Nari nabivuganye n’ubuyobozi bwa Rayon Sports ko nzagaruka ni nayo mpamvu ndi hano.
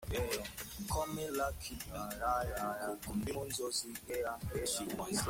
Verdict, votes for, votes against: rejected, 0, 2